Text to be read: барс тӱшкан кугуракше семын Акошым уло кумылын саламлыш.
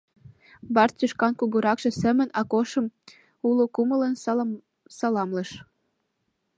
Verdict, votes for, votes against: rejected, 0, 2